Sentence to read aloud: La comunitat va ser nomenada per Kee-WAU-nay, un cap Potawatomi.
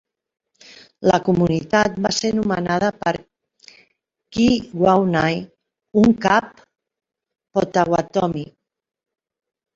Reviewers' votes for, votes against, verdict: 2, 1, accepted